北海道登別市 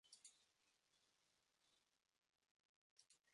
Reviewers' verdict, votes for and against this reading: accepted, 2, 0